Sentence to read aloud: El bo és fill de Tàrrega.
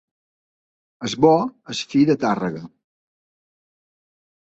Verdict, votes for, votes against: rejected, 2, 4